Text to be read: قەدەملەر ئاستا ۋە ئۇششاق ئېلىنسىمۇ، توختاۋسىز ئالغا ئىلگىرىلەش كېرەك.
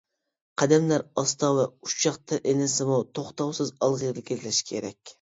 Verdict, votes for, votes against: rejected, 0, 2